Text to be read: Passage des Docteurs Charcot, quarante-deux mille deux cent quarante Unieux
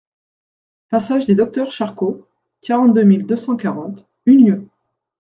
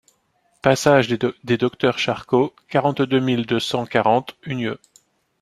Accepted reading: first